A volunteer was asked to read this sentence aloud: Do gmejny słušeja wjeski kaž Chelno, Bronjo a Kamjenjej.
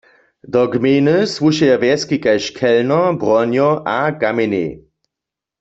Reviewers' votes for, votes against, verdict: 2, 0, accepted